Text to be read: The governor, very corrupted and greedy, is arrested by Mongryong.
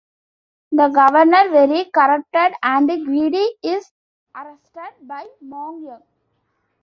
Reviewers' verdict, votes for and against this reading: accepted, 2, 1